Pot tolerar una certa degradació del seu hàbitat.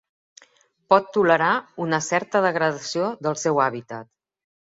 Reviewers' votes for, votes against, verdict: 3, 0, accepted